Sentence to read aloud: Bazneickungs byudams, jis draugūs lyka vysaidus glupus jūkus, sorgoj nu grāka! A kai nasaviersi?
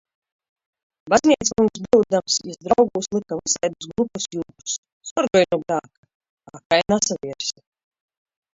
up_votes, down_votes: 1, 2